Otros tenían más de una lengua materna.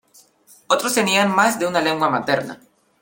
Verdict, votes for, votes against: accepted, 2, 0